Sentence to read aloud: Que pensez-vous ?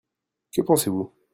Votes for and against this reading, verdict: 2, 0, accepted